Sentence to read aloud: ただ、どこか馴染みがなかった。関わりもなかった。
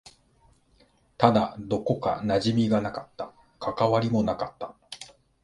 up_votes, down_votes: 2, 0